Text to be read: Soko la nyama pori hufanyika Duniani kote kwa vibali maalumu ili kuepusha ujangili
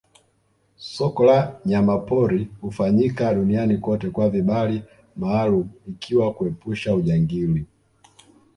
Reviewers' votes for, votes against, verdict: 1, 2, rejected